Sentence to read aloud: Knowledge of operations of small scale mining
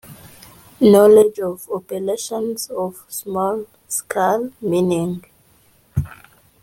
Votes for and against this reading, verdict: 0, 2, rejected